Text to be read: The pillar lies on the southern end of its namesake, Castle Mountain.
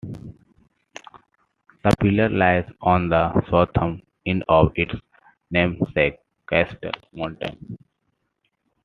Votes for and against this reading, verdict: 1, 2, rejected